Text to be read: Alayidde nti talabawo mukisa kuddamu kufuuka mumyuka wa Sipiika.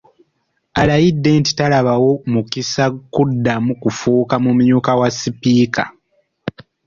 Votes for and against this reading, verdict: 3, 0, accepted